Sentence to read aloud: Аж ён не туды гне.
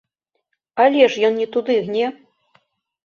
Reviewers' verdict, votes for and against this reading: rejected, 0, 2